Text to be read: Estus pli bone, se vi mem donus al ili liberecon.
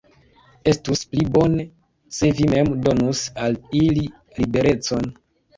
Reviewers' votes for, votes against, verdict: 0, 2, rejected